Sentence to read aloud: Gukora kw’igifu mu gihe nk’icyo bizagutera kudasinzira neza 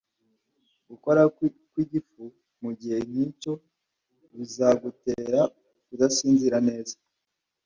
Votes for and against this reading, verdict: 1, 2, rejected